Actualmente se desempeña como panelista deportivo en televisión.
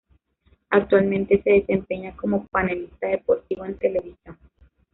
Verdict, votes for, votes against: rejected, 1, 2